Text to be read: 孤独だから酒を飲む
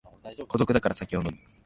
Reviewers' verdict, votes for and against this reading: accepted, 5, 1